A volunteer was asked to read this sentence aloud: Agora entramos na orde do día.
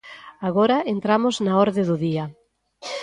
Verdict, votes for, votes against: accepted, 2, 1